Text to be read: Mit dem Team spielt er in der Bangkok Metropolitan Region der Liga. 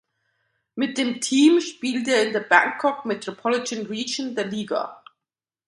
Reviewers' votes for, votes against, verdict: 1, 2, rejected